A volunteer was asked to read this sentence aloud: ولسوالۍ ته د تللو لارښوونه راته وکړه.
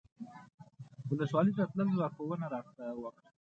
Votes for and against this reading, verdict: 2, 1, accepted